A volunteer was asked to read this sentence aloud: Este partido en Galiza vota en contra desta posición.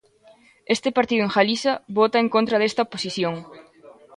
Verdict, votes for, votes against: accepted, 2, 0